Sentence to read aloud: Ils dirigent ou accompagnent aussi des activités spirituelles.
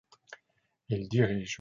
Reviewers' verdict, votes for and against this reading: rejected, 0, 2